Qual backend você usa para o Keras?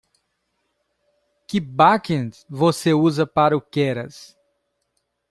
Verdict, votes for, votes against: rejected, 0, 2